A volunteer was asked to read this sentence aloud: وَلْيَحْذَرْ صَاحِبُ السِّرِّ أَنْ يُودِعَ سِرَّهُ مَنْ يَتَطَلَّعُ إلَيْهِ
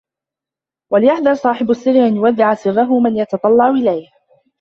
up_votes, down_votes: 0, 2